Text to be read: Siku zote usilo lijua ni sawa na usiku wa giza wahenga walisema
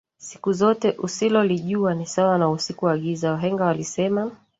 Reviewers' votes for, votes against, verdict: 1, 2, rejected